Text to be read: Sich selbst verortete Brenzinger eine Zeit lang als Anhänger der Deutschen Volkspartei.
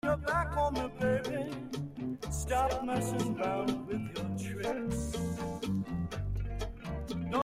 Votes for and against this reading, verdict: 0, 2, rejected